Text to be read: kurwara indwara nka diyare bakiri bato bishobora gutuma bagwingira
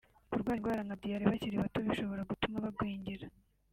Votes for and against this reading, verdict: 0, 3, rejected